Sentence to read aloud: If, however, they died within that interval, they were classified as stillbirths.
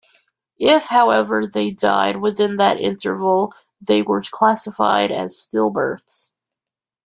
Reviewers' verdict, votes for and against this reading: accepted, 2, 0